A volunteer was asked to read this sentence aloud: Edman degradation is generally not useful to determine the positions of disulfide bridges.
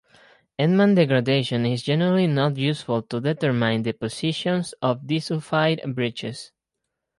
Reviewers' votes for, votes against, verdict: 2, 2, rejected